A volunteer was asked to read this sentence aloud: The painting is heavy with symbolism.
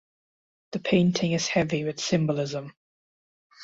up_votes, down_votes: 2, 0